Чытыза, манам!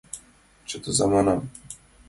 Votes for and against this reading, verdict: 2, 0, accepted